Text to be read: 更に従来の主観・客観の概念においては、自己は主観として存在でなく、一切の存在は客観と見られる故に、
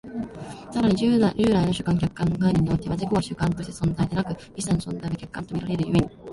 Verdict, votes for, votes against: rejected, 0, 2